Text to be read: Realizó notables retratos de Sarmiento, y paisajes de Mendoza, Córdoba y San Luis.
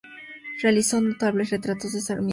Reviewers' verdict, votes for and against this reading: rejected, 0, 2